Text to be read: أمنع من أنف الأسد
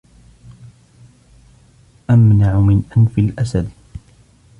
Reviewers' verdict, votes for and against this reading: rejected, 1, 2